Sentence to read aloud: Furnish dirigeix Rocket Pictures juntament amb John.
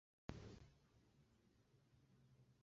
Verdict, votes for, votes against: rejected, 0, 2